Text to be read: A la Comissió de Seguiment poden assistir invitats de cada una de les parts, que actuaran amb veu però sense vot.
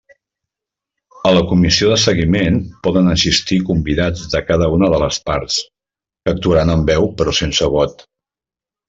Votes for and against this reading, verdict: 0, 2, rejected